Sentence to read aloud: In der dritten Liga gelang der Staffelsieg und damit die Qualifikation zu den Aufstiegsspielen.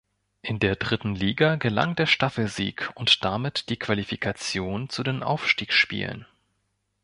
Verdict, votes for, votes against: accepted, 2, 0